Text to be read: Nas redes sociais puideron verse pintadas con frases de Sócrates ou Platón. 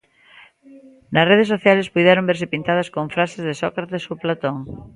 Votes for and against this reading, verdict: 0, 2, rejected